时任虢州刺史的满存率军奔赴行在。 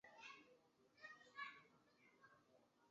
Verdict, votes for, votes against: rejected, 0, 2